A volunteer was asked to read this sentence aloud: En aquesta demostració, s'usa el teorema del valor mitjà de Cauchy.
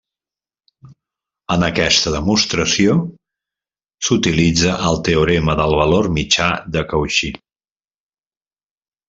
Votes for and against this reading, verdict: 1, 2, rejected